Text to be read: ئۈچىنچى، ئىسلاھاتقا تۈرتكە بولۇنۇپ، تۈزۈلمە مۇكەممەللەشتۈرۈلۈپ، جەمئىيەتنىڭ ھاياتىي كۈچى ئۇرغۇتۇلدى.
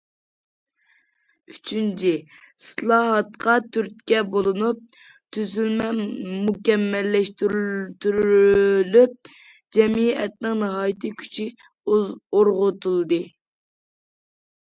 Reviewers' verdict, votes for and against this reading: rejected, 0, 2